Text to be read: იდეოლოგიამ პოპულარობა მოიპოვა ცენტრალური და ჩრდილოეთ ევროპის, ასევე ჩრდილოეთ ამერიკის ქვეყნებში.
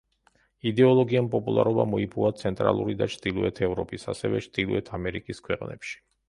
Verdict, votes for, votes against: accepted, 2, 0